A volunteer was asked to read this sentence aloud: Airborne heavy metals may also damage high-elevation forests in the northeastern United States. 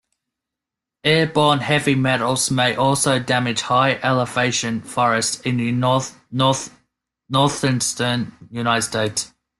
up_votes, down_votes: 0, 2